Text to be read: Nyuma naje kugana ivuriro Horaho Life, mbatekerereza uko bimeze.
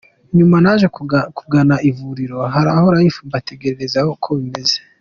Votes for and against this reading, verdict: 0, 2, rejected